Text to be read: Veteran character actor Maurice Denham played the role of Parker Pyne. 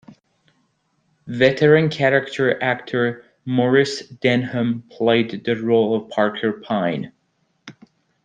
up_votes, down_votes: 2, 0